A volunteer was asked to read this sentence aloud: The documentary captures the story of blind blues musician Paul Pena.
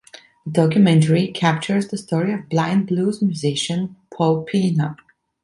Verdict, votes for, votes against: accepted, 2, 1